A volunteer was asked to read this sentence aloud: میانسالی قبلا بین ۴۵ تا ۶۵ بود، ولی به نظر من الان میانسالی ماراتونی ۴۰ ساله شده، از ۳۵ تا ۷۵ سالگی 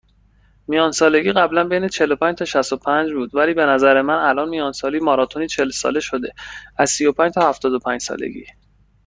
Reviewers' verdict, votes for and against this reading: rejected, 0, 2